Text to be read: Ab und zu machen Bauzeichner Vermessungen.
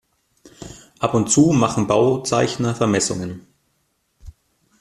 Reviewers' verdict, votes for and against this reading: accepted, 2, 0